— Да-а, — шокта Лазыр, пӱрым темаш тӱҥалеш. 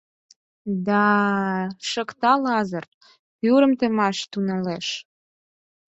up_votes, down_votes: 2, 4